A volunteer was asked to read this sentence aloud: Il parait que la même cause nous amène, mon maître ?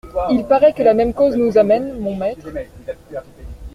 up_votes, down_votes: 2, 0